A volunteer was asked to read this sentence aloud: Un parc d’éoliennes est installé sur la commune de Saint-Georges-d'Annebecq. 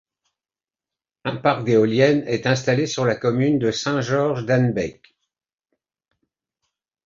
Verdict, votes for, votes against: accepted, 2, 0